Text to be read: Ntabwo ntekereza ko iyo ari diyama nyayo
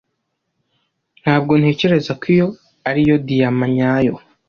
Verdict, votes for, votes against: rejected, 1, 2